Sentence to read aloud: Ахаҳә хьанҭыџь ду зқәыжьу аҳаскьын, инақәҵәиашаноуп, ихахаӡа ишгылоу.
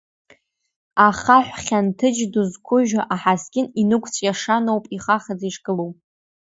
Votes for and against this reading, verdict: 3, 0, accepted